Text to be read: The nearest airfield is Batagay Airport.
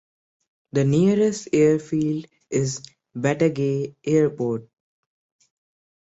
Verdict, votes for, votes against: accepted, 3, 0